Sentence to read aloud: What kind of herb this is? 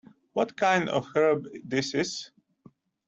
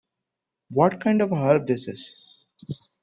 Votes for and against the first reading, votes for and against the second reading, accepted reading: 2, 0, 1, 2, first